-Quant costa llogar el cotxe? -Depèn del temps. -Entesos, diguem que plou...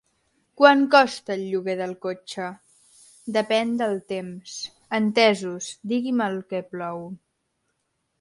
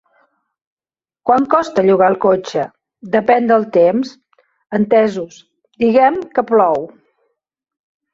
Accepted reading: second